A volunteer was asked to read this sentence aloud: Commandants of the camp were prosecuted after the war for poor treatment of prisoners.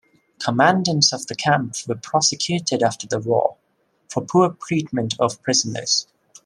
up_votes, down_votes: 2, 1